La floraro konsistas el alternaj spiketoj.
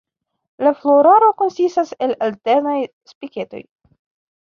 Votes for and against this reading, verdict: 2, 1, accepted